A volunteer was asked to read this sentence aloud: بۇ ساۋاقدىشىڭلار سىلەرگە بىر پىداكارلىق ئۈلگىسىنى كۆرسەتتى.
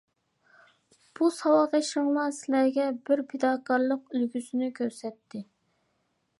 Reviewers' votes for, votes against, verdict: 2, 0, accepted